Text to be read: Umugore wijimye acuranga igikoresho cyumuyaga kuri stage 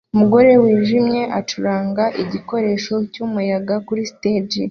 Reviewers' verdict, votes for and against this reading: accepted, 2, 0